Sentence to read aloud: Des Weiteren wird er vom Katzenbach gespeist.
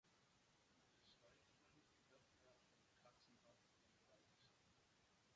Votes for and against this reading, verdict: 0, 2, rejected